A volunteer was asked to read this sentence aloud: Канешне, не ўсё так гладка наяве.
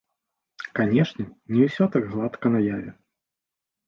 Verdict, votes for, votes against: accepted, 2, 0